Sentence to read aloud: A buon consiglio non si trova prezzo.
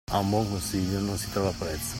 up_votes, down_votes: 2, 1